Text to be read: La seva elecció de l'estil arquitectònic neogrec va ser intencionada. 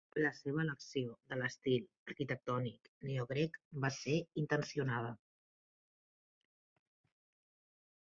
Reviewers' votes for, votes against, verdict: 1, 2, rejected